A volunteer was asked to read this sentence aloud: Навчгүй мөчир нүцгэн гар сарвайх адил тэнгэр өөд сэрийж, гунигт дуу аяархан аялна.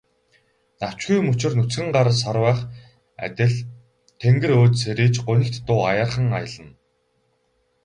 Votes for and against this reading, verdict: 0, 2, rejected